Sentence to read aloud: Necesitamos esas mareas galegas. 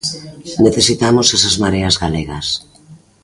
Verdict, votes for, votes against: accepted, 2, 0